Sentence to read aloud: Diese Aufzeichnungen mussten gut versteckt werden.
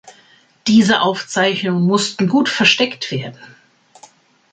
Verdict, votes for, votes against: accepted, 2, 1